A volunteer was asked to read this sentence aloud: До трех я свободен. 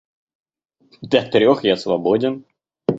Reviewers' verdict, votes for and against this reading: accepted, 2, 0